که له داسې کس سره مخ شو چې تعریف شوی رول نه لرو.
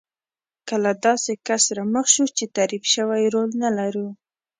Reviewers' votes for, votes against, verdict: 1, 2, rejected